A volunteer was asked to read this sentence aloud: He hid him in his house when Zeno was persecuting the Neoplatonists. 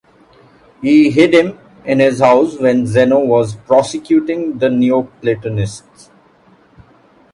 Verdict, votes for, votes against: rejected, 0, 2